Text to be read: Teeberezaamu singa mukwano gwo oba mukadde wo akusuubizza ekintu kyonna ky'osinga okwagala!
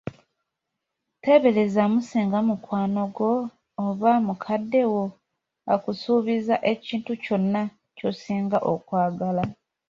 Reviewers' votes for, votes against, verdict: 2, 0, accepted